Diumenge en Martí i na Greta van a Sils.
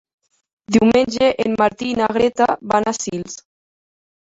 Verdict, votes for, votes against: accepted, 2, 1